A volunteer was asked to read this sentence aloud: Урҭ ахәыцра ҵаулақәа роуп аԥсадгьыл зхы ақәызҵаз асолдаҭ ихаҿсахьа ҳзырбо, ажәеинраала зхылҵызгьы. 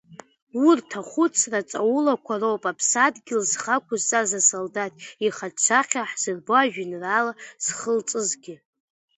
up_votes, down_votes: 2, 1